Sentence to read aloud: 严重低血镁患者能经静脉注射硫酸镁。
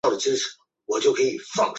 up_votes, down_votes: 2, 3